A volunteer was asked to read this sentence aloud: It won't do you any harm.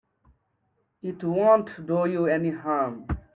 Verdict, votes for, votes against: accepted, 2, 0